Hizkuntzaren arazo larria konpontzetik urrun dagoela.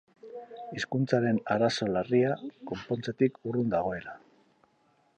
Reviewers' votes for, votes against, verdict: 4, 0, accepted